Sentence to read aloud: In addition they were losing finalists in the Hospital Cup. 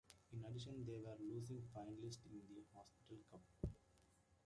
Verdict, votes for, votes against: rejected, 0, 2